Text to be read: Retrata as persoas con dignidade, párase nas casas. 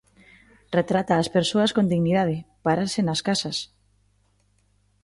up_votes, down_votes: 2, 0